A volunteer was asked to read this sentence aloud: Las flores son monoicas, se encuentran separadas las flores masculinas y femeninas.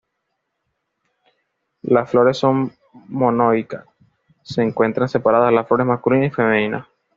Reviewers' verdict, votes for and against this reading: rejected, 1, 2